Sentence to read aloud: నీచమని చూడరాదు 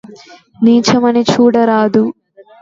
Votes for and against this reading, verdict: 2, 0, accepted